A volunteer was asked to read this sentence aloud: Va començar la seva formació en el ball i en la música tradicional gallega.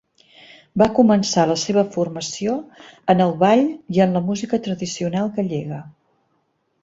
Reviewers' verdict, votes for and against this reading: accepted, 2, 0